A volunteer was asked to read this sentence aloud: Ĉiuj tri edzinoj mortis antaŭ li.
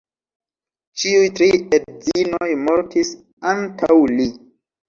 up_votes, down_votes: 2, 0